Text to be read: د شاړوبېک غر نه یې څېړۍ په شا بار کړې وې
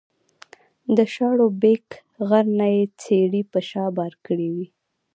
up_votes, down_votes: 2, 1